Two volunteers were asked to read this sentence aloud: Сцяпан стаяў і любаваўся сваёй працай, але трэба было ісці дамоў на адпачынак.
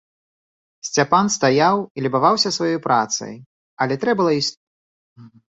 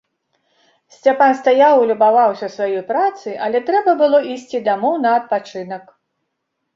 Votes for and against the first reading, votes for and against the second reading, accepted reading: 2, 4, 2, 0, second